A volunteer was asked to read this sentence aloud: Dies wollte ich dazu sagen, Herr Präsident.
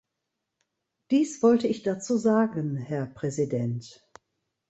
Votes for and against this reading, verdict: 2, 0, accepted